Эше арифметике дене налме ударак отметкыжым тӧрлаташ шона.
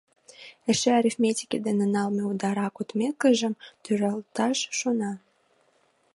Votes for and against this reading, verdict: 0, 2, rejected